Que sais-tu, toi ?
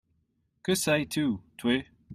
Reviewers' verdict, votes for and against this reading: rejected, 1, 2